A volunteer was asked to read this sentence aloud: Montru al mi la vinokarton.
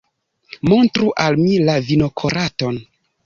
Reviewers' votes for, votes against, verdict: 1, 2, rejected